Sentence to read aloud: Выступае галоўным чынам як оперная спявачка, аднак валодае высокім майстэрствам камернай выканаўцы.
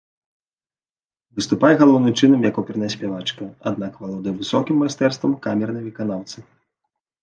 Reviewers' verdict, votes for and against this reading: rejected, 1, 2